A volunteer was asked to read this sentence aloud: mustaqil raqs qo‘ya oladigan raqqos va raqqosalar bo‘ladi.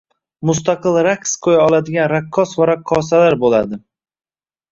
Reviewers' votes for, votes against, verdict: 2, 0, accepted